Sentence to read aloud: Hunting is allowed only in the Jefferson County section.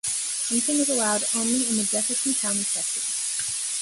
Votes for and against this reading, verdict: 1, 2, rejected